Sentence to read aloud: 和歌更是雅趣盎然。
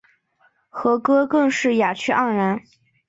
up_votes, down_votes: 3, 0